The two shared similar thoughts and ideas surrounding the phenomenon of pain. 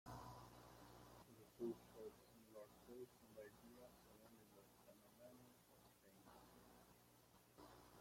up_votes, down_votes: 0, 2